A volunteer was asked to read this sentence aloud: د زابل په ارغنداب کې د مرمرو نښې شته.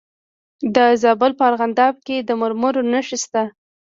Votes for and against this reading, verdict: 0, 2, rejected